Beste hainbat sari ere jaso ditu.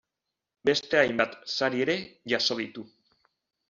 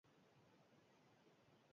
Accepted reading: first